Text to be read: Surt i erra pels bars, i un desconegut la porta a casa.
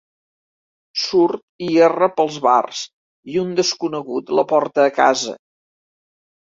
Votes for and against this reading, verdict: 2, 0, accepted